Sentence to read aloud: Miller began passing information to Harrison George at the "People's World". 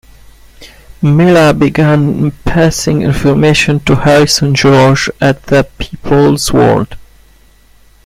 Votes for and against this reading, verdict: 2, 0, accepted